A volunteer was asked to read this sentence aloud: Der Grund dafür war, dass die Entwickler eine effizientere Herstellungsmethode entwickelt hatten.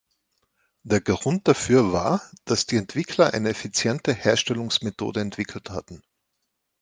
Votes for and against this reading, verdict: 1, 2, rejected